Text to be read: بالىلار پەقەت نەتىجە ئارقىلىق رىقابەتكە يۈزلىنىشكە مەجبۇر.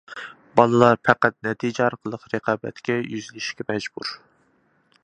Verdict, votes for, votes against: accepted, 2, 0